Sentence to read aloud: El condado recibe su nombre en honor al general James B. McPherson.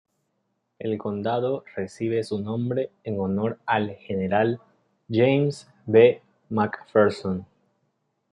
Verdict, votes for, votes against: accepted, 2, 0